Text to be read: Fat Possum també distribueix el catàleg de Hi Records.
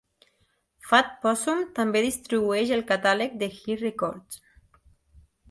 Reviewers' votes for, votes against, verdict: 1, 2, rejected